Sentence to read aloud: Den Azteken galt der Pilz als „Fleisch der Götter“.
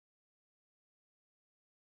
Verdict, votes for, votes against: rejected, 0, 2